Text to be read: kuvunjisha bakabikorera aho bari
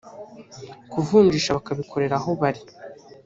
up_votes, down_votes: 0, 2